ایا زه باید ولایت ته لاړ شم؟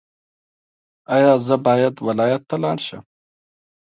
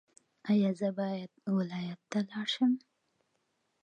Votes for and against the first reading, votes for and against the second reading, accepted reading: 0, 2, 2, 0, second